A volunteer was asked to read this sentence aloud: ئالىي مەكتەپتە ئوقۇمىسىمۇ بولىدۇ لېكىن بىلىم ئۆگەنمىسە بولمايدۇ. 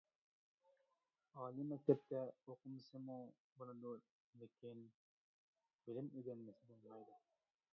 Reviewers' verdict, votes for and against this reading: rejected, 1, 2